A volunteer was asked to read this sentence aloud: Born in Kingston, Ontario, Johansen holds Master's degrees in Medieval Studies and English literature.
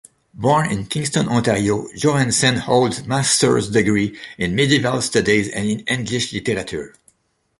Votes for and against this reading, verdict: 1, 2, rejected